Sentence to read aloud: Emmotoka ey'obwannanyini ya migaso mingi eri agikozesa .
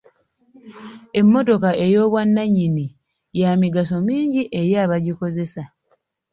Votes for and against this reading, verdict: 2, 3, rejected